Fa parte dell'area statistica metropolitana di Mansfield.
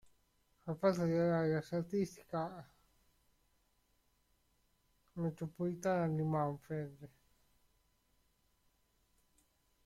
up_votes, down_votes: 0, 2